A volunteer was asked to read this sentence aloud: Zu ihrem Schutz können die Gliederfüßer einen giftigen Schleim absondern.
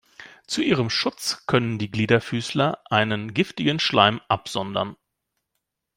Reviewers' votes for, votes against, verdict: 1, 2, rejected